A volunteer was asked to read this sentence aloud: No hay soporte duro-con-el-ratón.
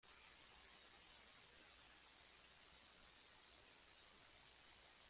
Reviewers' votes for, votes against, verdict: 0, 2, rejected